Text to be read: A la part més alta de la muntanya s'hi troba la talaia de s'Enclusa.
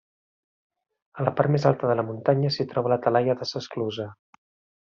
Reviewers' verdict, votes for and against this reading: rejected, 0, 2